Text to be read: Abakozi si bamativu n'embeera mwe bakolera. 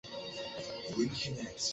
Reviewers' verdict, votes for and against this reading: rejected, 0, 2